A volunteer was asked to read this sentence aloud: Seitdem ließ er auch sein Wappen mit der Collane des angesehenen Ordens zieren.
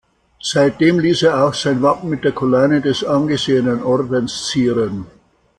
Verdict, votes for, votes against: accepted, 2, 1